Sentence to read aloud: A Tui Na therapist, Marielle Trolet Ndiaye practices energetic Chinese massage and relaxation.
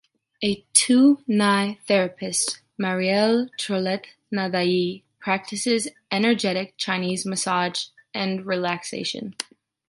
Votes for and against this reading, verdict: 2, 1, accepted